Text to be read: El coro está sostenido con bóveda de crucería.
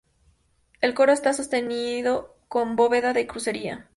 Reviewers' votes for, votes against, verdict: 2, 0, accepted